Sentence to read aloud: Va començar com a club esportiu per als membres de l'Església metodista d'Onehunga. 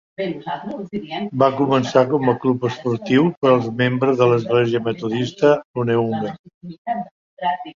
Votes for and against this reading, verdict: 0, 4, rejected